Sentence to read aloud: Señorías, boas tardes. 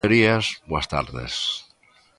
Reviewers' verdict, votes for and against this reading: rejected, 0, 2